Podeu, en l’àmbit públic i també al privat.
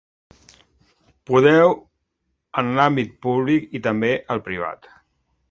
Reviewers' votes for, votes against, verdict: 2, 0, accepted